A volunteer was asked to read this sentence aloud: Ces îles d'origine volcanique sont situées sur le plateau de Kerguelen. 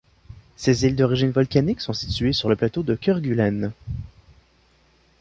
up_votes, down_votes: 1, 2